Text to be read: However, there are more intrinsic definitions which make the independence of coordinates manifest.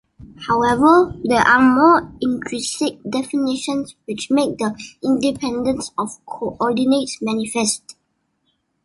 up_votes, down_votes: 2, 1